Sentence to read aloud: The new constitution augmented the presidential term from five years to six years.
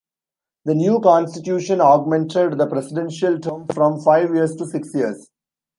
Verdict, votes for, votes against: accepted, 2, 0